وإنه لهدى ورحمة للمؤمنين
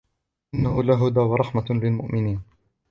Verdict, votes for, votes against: rejected, 1, 2